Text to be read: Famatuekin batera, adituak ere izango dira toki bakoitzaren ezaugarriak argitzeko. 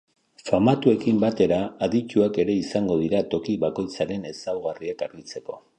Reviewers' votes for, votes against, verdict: 0, 2, rejected